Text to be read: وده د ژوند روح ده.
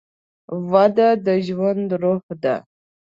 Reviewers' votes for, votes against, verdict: 2, 0, accepted